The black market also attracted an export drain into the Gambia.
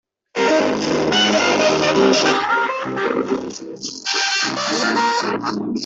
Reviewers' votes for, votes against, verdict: 0, 2, rejected